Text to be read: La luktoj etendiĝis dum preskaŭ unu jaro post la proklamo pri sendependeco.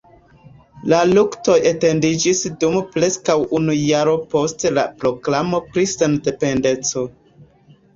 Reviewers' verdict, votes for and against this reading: accepted, 2, 1